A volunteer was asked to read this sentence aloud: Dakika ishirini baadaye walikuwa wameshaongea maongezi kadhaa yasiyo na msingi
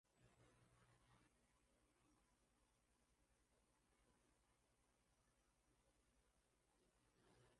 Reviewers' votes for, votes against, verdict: 0, 3, rejected